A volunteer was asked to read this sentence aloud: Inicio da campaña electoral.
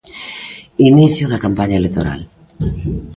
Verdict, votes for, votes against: accepted, 2, 0